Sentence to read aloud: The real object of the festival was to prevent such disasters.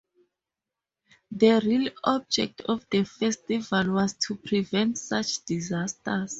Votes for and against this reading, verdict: 4, 0, accepted